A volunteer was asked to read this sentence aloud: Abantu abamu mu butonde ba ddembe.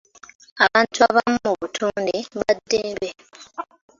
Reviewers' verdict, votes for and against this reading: accepted, 2, 1